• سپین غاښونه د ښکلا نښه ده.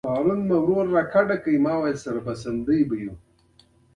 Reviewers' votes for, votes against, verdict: 1, 2, rejected